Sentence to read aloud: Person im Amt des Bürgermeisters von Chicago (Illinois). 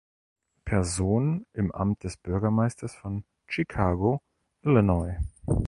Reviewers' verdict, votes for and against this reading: accepted, 2, 0